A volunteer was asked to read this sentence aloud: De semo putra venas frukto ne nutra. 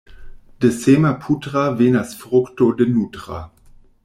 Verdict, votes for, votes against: rejected, 0, 2